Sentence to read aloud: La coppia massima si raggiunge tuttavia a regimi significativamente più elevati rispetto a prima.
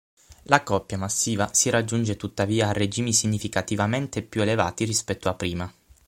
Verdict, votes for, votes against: rejected, 3, 6